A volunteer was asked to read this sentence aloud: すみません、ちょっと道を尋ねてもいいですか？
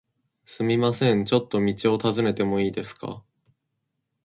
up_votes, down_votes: 2, 0